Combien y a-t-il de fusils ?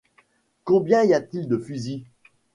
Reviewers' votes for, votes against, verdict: 2, 0, accepted